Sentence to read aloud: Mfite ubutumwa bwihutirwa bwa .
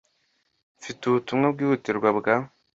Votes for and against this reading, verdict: 2, 0, accepted